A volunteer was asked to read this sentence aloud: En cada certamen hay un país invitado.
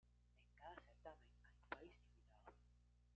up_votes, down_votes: 0, 2